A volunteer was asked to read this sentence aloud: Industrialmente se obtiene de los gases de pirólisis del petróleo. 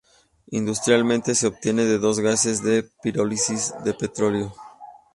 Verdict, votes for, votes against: rejected, 0, 2